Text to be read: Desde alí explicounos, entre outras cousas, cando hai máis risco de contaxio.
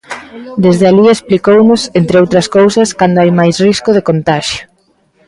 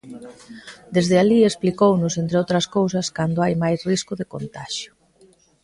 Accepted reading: second